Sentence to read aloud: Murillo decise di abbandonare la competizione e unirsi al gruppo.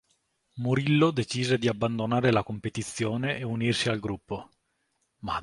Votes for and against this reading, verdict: 0, 2, rejected